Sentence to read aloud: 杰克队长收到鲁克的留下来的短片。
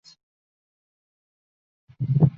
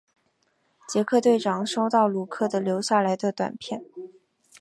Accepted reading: second